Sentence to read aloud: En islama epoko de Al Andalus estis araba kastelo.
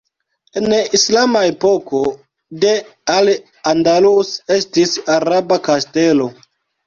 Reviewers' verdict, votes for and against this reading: rejected, 1, 2